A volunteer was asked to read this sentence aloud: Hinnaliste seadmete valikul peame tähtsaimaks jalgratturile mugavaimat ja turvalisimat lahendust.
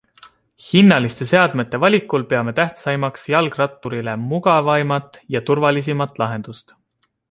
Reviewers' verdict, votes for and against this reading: accepted, 2, 0